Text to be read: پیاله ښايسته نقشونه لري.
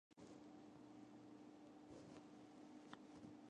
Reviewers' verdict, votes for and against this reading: rejected, 0, 2